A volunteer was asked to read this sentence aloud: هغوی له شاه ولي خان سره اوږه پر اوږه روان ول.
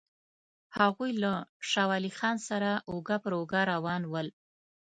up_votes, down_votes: 2, 0